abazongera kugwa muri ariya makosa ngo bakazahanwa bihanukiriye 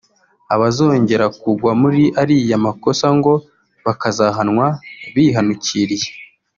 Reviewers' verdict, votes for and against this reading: rejected, 1, 2